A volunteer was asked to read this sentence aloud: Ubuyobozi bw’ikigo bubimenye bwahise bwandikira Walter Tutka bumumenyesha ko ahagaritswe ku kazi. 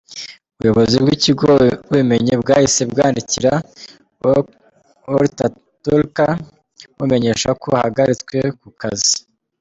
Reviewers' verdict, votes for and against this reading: rejected, 1, 2